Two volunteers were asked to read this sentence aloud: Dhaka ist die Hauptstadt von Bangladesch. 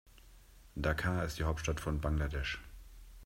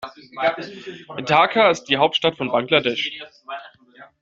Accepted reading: first